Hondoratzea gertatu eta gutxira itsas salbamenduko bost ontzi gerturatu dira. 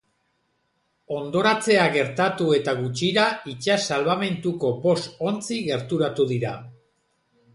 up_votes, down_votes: 4, 0